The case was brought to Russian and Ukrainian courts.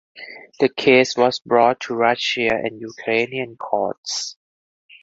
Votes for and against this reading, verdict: 4, 0, accepted